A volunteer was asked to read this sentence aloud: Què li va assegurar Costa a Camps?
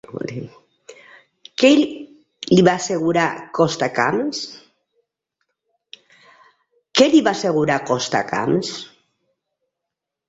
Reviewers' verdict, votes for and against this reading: rejected, 0, 2